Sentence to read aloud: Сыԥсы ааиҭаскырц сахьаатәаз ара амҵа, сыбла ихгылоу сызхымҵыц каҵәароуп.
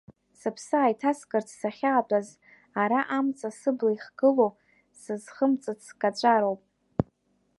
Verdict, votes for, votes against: rejected, 1, 2